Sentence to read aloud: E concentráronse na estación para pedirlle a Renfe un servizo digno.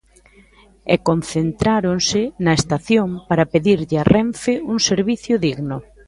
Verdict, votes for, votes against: rejected, 0, 2